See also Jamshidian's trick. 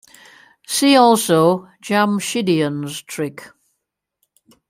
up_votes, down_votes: 2, 0